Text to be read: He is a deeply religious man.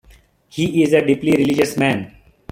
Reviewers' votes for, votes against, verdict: 2, 0, accepted